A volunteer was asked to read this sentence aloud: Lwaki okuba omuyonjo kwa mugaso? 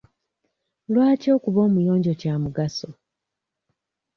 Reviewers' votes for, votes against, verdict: 1, 2, rejected